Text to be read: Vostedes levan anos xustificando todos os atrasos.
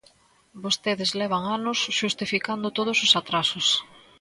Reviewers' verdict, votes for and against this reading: accepted, 2, 0